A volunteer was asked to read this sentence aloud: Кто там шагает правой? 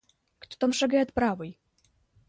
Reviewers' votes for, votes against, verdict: 0, 2, rejected